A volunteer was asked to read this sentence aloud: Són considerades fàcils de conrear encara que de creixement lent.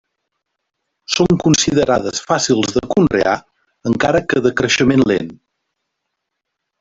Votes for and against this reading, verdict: 1, 2, rejected